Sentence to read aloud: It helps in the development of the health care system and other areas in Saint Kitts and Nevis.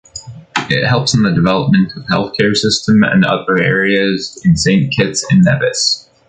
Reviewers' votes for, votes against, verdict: 2, 1, accepted